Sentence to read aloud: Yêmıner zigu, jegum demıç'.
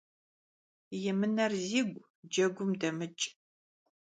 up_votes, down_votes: 1, 3